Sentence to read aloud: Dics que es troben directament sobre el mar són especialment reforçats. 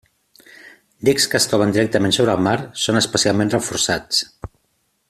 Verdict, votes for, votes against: accepted, 2, 0